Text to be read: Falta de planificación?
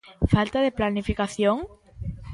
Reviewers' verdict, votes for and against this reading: accepted, 2, 0